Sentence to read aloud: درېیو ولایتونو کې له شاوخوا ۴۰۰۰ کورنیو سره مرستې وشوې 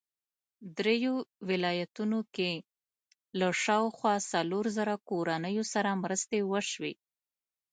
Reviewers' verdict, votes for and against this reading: rejected, 0, 2